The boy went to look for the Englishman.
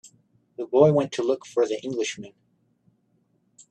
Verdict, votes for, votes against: accepted, 2, 1